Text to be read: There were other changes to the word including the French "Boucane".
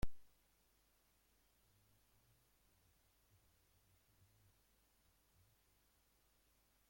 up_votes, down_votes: 0, 2